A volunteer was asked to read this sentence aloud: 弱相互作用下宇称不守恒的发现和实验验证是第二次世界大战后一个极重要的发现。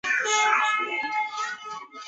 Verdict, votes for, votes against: rejected, 0, 3